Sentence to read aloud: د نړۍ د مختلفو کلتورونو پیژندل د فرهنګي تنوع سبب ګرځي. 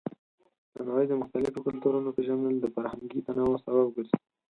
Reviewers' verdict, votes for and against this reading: rejected, 2, 4